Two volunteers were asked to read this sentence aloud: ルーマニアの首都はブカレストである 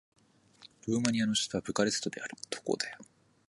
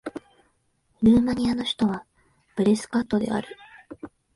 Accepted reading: first